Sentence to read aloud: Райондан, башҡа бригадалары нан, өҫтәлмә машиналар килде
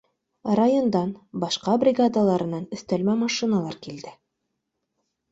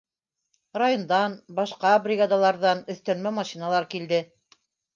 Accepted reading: first